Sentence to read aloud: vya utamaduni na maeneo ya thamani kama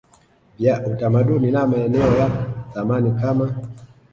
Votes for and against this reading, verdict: 0, 2, rejected